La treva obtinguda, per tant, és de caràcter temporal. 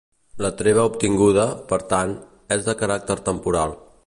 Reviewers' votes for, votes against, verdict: 2, 0, accepted